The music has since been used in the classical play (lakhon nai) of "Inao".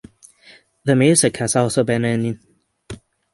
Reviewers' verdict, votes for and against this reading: rejected, 0, 6